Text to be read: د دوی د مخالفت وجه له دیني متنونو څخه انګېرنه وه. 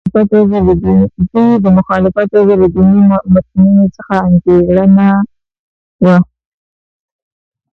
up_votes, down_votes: 0, 2